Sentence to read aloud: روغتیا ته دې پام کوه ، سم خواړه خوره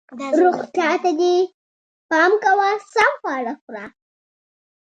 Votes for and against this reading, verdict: 0, 2, rejected